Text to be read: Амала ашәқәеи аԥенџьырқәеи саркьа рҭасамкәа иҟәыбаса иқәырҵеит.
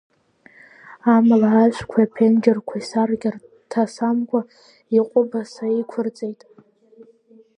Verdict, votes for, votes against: accepted, 2, 0